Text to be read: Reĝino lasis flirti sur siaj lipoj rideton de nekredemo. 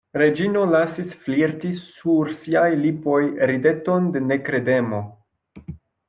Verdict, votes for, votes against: rejected, 1, 2